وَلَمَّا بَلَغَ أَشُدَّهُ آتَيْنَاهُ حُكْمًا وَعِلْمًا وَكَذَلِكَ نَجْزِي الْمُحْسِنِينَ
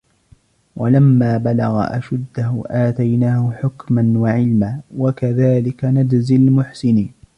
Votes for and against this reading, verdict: 1, 2, rejected